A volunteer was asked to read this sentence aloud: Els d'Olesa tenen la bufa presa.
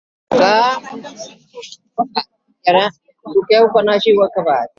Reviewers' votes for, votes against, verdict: 0, 2, rejected